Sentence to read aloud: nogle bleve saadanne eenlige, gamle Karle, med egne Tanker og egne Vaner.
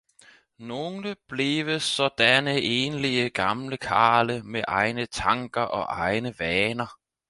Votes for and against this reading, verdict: 4, 0, accepted